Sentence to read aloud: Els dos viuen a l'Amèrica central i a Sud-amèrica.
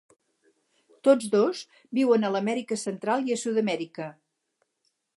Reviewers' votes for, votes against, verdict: 4, 6, rejected